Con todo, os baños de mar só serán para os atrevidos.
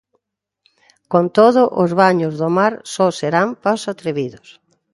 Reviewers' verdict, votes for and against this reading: rejected, 0, 2